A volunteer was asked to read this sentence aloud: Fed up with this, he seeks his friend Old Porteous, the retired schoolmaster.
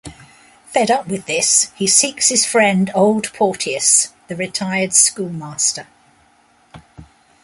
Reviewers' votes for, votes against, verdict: 2, 0, accepted